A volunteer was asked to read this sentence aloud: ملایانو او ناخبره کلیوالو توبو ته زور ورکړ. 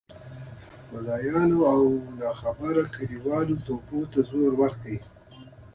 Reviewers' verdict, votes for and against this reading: rejected, 1, 2